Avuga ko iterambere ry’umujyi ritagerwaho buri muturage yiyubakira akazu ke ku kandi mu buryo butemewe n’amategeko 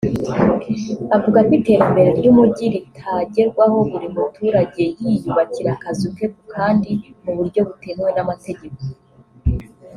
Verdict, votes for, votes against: accepted, 3, 0